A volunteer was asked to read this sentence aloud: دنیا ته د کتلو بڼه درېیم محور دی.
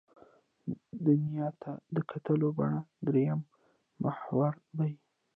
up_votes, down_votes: 0, 2